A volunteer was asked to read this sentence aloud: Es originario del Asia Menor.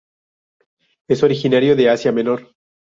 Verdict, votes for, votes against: rejected, 0, 2